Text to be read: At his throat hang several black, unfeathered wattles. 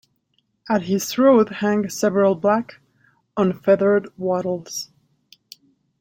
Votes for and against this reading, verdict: 2, 0, accepted